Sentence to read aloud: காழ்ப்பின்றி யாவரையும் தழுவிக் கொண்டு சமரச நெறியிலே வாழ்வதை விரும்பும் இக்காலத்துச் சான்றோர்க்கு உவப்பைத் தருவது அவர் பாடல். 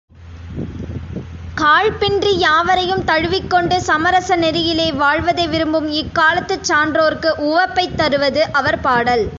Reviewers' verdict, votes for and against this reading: accepted, 3, 0